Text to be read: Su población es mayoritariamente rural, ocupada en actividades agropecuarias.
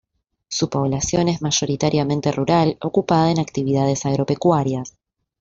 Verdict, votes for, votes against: rejected, 1, 2